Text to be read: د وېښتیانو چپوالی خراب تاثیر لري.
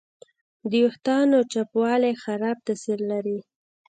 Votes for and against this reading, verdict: 3, 1, accepted